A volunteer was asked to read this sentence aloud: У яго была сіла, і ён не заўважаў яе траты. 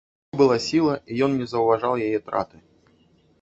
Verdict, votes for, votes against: rejected, 0, 2